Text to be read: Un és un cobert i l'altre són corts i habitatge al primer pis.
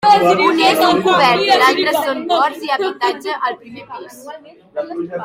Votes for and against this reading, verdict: 0, 2, rejected